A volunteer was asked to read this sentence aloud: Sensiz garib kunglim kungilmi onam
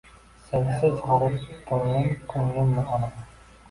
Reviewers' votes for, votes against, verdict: 1, 2, rejected